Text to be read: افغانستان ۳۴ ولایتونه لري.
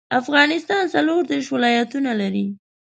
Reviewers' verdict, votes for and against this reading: rejected, 0, 2